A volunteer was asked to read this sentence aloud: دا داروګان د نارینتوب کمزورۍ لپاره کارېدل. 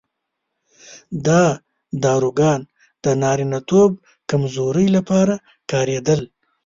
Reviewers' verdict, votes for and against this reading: accepted, 2, 0